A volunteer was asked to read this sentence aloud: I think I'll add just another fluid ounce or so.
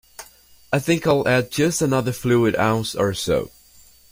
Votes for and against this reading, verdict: 2, 0, accepted